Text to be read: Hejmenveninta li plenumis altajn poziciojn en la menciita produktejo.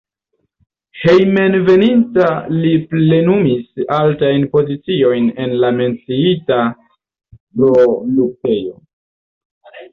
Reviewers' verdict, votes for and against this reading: accepted, 2, 0